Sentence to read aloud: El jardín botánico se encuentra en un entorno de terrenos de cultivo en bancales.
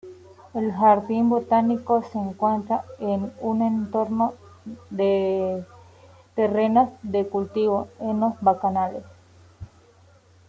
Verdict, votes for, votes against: accepted, 2, 0